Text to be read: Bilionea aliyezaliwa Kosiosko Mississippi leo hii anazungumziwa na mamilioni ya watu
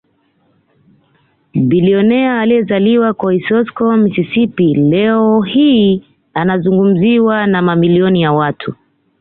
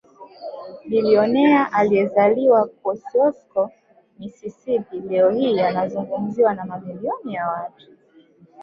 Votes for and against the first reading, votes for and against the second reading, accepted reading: 2, 1, 1, 2, first